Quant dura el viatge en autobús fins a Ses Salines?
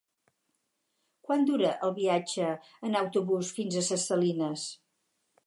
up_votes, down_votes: 4, 0